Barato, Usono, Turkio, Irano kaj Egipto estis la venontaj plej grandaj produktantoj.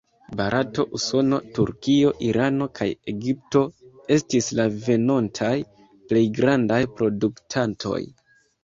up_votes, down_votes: 2, 0